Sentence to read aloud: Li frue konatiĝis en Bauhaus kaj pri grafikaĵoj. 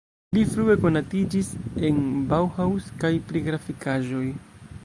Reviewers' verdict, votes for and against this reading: rejected, 0, 2